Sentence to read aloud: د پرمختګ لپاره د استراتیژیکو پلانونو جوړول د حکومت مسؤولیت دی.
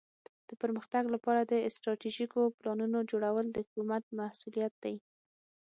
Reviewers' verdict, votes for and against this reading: rejected, 3, 6